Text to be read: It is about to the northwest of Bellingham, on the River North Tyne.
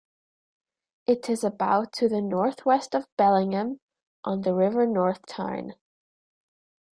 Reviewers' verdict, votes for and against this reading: accepted, 2, 0